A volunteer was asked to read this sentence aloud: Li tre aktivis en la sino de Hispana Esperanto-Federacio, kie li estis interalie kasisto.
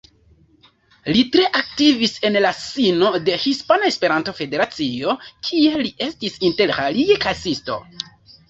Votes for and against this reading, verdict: 1, 2, rejected